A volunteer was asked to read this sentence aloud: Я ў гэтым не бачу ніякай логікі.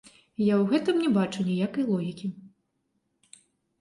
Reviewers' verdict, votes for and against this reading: rejected, 0, 2